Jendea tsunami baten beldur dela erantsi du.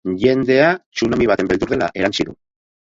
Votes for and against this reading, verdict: 2, 4, rejected